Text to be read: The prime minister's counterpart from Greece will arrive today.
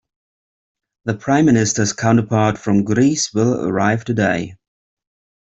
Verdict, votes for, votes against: accepted, 2, 0